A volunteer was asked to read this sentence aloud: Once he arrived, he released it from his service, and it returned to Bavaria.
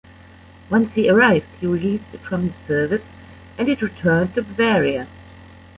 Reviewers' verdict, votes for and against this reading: rejected, 1, 2